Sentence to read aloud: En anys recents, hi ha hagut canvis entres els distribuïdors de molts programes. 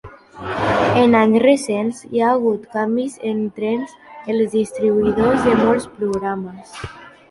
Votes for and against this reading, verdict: 2, 1, accepted